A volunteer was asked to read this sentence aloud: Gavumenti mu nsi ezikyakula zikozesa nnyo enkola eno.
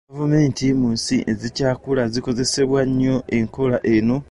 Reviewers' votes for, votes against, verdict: 1, 2, rejected